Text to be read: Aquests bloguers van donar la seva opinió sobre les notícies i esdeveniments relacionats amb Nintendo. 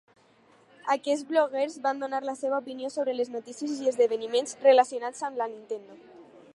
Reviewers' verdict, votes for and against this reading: rejected, 2, 2